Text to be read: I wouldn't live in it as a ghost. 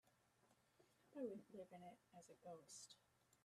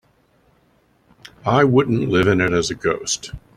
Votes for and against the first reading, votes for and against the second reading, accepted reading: 0, 2, 3, 0, second